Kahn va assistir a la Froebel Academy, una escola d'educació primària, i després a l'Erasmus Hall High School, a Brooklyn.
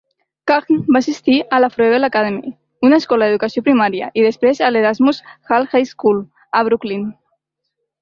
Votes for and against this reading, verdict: 2, 0, accepted